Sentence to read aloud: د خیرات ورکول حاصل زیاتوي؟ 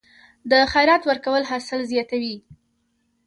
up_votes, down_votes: 2, 0